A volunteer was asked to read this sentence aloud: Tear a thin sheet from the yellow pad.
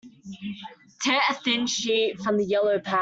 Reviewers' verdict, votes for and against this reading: rejected, 0, 2